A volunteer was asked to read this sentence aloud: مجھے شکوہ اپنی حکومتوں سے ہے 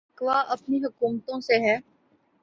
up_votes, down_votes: 0, 2